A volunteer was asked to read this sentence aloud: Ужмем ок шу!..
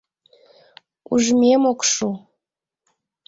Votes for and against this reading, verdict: 2, 0, accepted